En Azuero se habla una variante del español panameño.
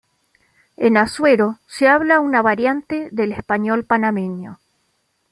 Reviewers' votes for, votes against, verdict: 2, 0, accepted